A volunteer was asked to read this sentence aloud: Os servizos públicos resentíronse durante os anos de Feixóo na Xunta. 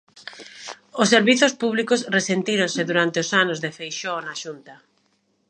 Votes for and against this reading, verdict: 2, 0, accepted